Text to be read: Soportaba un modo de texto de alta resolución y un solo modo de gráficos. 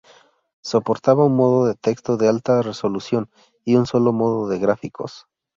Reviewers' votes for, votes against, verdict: 0, 2, rejected